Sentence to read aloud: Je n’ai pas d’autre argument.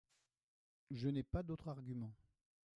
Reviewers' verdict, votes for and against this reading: rejected, 0, 2